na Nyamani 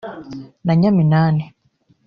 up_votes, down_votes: 1, 2